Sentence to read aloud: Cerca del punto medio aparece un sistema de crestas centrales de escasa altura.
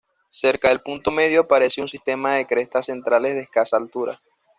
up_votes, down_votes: 2, 1